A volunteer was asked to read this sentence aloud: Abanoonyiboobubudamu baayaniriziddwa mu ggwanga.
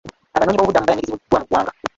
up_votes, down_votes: 1, 2